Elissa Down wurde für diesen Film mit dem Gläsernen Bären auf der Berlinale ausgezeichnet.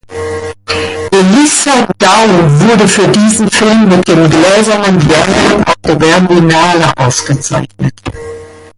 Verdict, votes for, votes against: accepted, 2, 1